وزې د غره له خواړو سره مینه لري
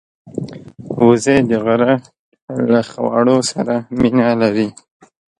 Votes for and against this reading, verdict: 1, 2, rejected